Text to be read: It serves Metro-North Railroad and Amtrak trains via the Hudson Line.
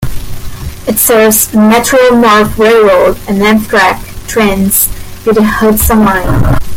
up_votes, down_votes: 0, 2